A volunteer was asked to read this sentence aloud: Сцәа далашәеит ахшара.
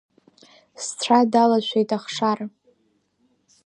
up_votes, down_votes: 2, 0